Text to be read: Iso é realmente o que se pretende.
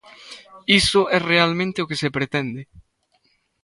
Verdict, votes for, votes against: accepted, 2, 0